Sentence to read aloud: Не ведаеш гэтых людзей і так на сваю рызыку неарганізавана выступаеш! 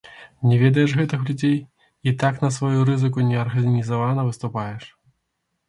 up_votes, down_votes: 1, 2